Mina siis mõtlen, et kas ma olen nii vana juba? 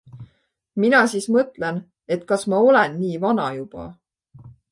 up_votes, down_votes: 2, 0